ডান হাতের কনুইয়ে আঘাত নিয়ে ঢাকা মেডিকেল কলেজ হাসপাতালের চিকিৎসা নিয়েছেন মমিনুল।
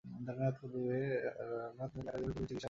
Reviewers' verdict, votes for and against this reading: rejected, 0, 2